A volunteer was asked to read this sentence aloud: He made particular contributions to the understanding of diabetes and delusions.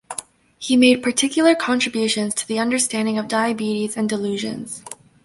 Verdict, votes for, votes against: accepted, 2, 0